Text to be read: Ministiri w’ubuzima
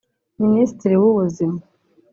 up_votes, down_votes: 0, 2